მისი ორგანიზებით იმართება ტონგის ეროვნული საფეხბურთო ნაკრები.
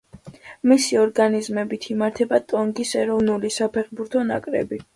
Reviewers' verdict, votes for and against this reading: accepted, 2, 0